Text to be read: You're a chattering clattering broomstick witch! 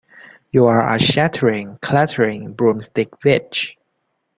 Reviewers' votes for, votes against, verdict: 0, 2, rejected